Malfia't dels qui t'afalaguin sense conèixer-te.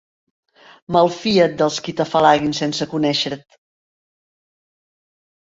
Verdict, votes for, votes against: rejected, 1, 2